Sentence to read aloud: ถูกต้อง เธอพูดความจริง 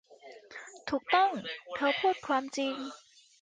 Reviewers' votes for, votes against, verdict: 2, 0, accepted